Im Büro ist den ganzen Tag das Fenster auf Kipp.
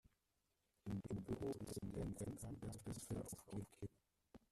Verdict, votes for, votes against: rejected, 0, 2